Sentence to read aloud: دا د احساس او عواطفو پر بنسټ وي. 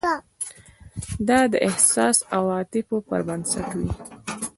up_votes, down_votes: 1, 2